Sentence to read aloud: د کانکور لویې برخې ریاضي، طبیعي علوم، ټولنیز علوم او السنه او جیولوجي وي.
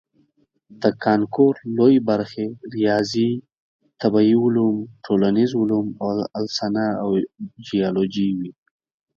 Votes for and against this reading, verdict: 4, 0, accepted